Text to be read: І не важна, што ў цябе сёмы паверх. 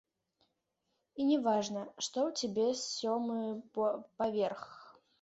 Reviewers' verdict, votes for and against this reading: rejected, 1, 2